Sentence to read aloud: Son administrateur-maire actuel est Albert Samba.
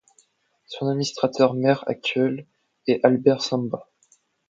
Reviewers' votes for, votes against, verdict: 2, 0, accepted